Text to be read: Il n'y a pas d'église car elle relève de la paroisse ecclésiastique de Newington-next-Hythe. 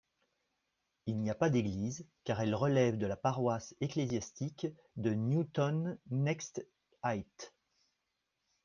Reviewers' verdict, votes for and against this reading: rejected, 1, 2